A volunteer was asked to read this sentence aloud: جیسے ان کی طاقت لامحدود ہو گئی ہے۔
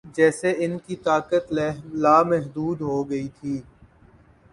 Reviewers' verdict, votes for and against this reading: rejected, 0, 2